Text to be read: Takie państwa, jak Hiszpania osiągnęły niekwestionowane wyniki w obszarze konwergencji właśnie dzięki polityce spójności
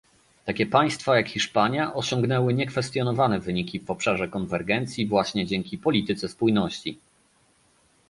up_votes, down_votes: 2, 0